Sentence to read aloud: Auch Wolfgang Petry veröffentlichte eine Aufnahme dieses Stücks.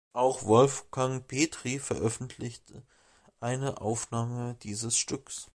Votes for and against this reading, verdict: 2, 1, accepted